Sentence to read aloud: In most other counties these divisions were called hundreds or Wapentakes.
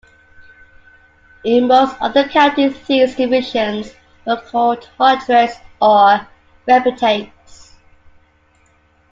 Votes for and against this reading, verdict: 2, 1, accepted